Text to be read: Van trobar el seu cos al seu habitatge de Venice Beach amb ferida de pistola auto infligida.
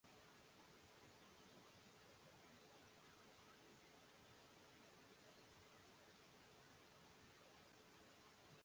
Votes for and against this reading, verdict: 0, 2, rejected